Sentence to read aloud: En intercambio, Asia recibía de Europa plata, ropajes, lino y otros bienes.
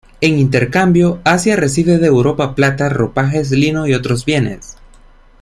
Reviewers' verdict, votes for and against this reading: rejected, 1, 2